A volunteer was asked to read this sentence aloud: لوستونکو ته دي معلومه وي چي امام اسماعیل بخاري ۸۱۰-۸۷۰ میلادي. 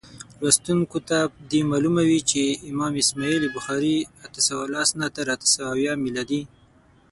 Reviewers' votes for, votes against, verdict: 0, 2, rejected